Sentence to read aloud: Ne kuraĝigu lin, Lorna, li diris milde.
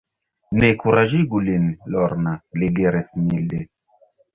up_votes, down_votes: 0, 2